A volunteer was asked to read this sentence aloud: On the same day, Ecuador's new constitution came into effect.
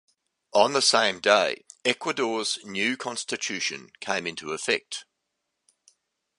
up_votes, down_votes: 2, 0